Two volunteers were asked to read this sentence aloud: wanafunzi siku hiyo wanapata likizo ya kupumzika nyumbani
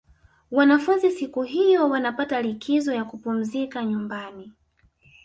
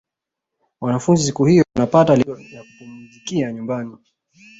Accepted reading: first